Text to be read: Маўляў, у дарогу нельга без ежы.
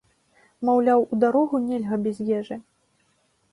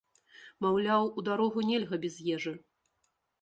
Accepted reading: first